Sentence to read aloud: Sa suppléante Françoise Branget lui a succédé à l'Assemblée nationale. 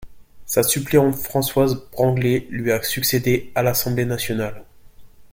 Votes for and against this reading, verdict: 0, 2, rejected